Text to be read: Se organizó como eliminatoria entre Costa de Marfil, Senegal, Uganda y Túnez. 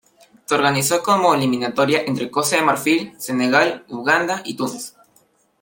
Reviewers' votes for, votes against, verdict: 2, 0, accepted